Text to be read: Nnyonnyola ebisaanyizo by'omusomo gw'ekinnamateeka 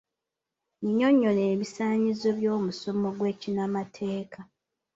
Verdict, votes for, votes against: accepted, 2, 0